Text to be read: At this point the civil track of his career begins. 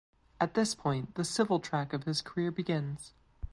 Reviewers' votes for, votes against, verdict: 3, 0, accepted